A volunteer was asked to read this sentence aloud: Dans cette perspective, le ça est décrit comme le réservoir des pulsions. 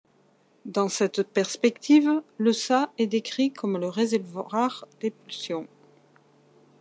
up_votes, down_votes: 1, 2